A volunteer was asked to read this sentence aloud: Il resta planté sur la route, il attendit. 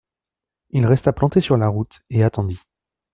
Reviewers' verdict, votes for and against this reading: rejected, 1, 2